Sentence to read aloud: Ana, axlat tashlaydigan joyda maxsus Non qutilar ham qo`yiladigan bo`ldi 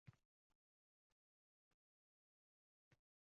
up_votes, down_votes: 0, 2